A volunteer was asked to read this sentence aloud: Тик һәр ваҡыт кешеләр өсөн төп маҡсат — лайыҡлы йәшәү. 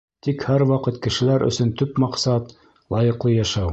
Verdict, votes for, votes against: accepted, 2, 0